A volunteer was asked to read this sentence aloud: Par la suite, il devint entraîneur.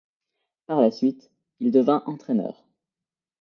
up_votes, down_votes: 2, 0